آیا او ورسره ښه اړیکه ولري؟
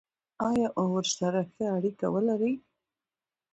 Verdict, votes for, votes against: accepted, 2, 1